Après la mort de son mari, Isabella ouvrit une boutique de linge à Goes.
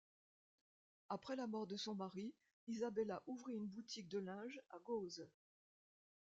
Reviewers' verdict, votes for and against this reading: accepted, 2, 0